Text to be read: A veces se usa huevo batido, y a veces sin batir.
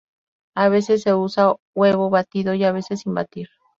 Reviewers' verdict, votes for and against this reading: accepted, 2, 0